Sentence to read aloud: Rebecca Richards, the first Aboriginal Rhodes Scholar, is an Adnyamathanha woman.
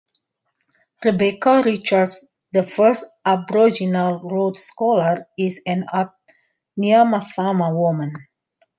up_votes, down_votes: 2, 1